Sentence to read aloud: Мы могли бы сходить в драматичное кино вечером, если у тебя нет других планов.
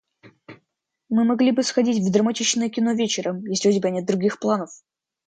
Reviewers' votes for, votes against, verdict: 2, 0, accepted